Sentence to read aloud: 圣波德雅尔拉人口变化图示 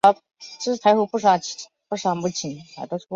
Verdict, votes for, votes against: rejected, 1, 5